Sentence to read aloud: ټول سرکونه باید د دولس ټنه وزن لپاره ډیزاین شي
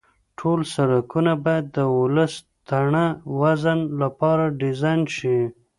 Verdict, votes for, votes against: rejected, 0, 2